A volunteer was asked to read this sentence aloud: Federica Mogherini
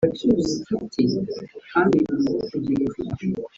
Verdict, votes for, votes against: rejected, 0, 4